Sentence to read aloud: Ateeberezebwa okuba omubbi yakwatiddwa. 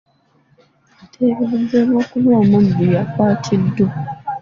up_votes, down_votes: 0, 2